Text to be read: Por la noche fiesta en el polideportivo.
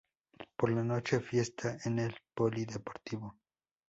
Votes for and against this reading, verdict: 2, 0, accepted